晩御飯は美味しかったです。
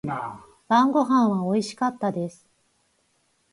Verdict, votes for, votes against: accepted, 4, 0